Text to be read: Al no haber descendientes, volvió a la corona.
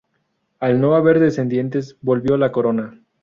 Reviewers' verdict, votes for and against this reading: accepted, 2, 0